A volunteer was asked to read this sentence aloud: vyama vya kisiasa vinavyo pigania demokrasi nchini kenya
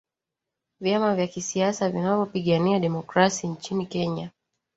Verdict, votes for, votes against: accepted, 2, 0